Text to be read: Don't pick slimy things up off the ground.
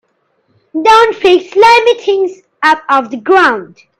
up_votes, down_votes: 2, 0